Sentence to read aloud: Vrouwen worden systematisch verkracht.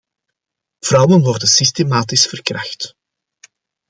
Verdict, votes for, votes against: accepted, 2, 0